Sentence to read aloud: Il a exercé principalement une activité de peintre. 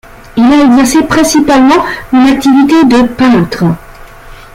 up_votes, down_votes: 2, 1